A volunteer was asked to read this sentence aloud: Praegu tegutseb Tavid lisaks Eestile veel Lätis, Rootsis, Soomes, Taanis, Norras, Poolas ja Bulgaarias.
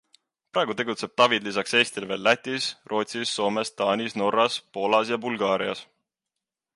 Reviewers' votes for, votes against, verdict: 2, 0, accepted